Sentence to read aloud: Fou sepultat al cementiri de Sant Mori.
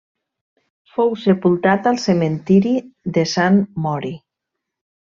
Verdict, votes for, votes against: accepted, 2, 0